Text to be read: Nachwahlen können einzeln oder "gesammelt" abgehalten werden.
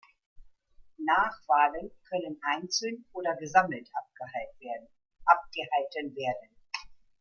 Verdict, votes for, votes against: rejected, 0, 2